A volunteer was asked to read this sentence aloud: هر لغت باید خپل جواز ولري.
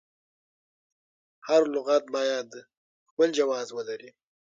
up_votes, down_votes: 0, 6